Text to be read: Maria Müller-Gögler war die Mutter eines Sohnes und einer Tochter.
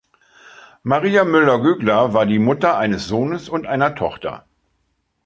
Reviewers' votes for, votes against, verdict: 2, 0, accepted